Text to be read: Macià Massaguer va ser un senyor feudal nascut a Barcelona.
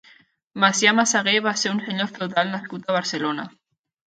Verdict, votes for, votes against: rejected, 2, 3